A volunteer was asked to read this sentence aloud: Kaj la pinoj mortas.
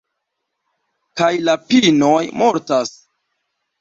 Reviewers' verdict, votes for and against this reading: accepted, 2, 1